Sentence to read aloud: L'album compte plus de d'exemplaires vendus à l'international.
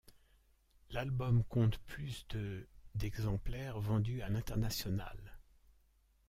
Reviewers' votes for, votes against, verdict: 0, 2, rejected